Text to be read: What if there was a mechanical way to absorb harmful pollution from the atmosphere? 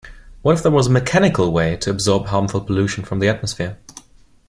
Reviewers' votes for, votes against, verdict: 2, 0, accepted